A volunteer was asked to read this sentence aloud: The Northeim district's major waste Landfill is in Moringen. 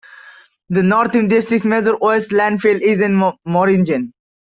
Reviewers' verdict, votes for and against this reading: rejected, 1, 2